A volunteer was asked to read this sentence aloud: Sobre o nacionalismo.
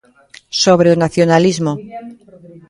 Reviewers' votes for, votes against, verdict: 0, 2, rejected